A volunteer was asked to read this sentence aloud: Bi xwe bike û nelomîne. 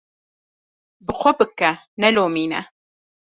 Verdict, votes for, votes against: rejected, 0, 2